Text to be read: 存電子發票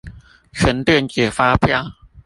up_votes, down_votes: 2, 0